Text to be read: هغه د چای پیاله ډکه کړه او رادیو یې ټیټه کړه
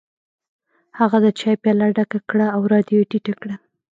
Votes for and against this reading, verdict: 0, 2, rejected